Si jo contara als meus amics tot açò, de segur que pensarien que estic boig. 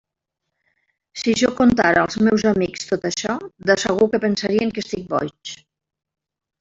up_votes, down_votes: 0, 3